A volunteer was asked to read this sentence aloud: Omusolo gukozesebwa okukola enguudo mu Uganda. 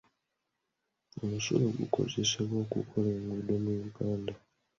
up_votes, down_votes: 0, 2